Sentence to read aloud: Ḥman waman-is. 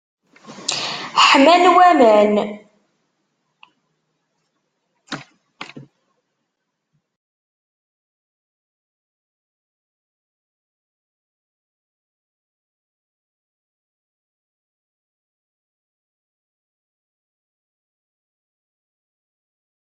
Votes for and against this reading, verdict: 0, 2, rejected